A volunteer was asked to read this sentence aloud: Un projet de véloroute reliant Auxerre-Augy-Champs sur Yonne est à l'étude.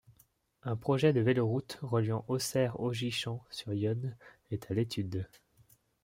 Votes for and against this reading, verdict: 2, 0, accepted